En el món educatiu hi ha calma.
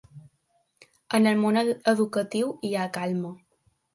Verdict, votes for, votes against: rejected, 1, 2